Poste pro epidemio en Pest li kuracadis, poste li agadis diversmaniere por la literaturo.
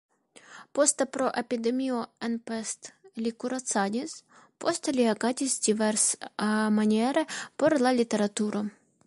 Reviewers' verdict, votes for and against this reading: accepted, 2, 1